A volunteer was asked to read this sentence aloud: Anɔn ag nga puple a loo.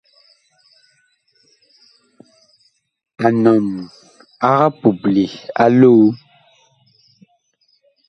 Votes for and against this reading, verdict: 0, 2, rejected